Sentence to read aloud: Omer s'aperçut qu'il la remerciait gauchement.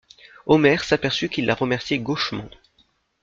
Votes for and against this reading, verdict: 2, 0, accepted